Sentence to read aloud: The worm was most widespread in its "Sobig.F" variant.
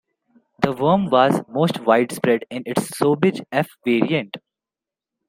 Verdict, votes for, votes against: accepted, 2, 1